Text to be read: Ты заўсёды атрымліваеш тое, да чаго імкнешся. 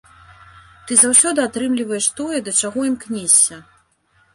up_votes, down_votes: 3, 0